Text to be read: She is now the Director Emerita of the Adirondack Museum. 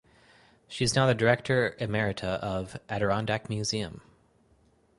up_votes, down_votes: 2, 4